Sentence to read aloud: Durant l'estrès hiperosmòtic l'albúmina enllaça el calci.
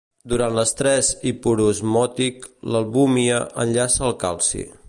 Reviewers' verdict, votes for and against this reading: rejected, 1, 2